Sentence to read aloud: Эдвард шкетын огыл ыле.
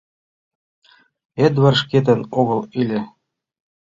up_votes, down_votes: 1, 2